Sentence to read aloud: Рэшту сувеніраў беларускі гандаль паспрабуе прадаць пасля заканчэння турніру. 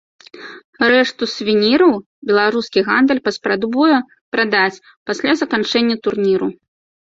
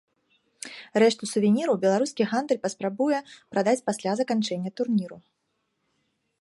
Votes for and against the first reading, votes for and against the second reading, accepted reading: 0, 2, 2, 0, second